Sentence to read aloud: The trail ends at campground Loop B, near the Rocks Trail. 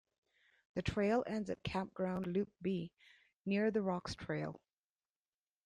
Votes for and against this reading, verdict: 1, 2, rejected